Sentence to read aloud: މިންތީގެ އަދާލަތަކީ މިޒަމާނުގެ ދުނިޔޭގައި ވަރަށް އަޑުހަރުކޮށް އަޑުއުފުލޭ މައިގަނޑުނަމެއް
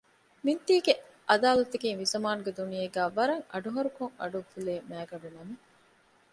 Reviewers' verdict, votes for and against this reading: accepted, 2, 0